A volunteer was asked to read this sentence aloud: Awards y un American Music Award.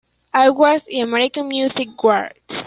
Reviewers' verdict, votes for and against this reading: rejected, 0, 2